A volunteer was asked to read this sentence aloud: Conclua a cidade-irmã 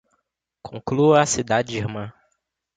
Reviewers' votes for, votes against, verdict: 2, 0, accepted